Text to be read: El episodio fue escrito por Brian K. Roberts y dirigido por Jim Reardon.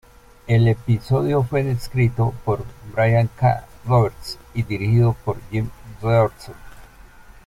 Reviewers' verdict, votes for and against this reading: rejected, 0, 2